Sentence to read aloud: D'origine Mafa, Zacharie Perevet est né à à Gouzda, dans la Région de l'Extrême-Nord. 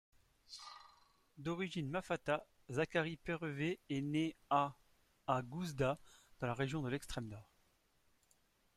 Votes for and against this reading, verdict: 0, 2, rejected